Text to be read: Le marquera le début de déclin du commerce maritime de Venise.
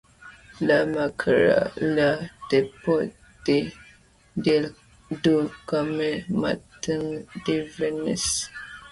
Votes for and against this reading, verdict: 2, 1, accepted